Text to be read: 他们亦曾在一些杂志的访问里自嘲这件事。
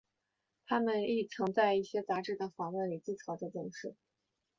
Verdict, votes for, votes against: rejected, 0, 2